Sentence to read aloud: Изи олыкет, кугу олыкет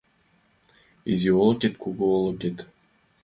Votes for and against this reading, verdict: 2, 1, accepted